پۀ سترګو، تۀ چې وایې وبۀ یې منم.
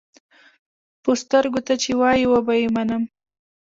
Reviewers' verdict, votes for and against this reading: accepted, 2, 0